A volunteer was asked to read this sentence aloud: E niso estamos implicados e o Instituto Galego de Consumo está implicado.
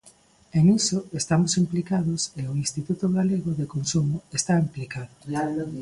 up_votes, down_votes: 0, 2